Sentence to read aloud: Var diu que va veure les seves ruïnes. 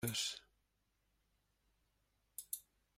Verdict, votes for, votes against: rejected, 0, 2